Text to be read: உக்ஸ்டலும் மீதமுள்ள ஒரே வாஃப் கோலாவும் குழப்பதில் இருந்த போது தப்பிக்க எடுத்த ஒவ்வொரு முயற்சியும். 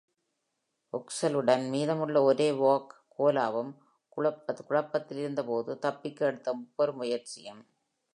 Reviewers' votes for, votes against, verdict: 0, 2, rejected